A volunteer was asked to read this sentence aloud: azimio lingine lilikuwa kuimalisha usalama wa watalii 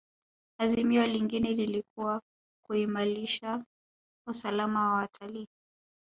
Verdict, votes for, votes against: accepted, 3, 0